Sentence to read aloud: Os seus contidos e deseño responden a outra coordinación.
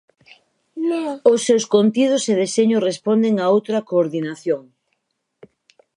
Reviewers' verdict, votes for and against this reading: rejected, 0, 4